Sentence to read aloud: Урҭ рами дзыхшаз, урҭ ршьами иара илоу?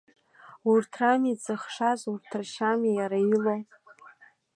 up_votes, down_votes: 2, 0